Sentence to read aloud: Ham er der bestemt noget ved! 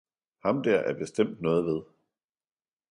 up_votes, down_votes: 1, 2